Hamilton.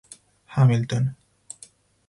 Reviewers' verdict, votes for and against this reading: accepted, 4, 2